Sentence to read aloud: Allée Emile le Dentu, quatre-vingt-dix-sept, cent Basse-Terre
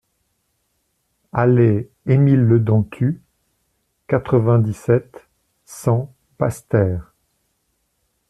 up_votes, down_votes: 2, 0